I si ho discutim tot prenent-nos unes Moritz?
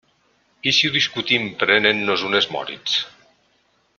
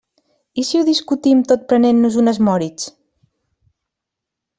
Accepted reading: second